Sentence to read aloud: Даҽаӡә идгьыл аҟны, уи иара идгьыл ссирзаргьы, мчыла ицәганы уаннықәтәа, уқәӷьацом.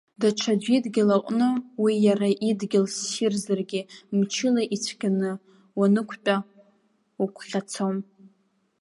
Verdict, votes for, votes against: rejected, 0, 2